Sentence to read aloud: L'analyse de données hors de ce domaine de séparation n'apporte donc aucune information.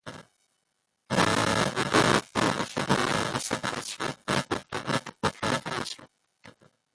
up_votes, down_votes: 0, 2